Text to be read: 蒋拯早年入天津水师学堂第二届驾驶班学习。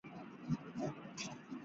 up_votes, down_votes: 0, 5